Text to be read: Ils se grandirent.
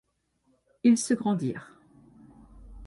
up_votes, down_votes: 2, 0